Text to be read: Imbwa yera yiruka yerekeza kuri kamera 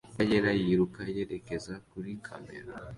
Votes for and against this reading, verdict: 2, 0, accepted